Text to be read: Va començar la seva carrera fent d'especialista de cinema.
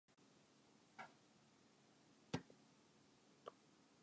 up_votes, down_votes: 1, 5